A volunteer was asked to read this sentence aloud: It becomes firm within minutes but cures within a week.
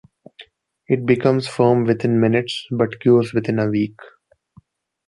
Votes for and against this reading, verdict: 2, 0, accepted